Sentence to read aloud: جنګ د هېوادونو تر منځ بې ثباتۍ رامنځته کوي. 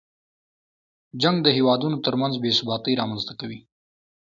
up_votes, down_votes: 2, 0